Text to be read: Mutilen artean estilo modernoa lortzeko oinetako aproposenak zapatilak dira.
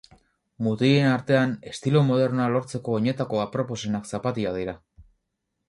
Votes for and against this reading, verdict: 2, 0, accepted